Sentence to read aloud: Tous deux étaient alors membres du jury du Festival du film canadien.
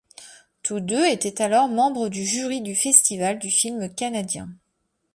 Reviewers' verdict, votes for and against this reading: accepted, 3, 0